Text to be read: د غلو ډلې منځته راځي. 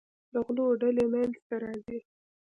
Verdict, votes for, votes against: accepted, 2, 0